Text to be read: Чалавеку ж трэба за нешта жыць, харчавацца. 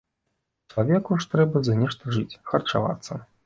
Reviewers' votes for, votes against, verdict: 2, 0, accepted